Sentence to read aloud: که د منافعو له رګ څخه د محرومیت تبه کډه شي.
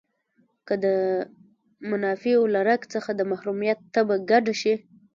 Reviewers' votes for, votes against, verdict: 1, 2, rejected